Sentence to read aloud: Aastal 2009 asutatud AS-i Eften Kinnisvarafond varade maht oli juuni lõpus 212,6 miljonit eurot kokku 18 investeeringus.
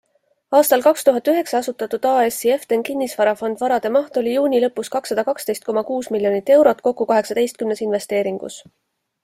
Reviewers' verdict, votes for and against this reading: rejected, 0, 2